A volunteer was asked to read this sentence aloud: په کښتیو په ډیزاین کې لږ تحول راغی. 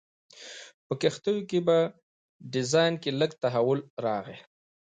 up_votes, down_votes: 2, 0